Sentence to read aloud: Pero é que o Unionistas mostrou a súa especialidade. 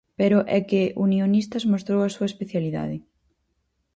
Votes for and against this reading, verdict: 2, 4, rejected